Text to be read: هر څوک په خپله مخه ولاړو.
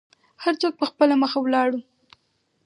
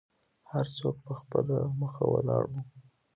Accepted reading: second